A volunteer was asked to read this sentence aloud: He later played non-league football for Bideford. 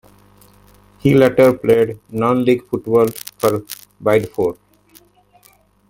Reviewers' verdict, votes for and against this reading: rejected, 0, 2